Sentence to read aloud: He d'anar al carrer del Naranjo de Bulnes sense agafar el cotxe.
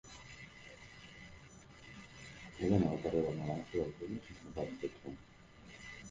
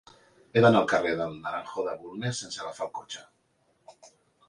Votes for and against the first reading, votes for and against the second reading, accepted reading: 1, 2, 2, 1, second